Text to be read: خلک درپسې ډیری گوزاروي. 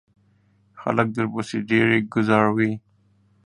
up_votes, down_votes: 1, 2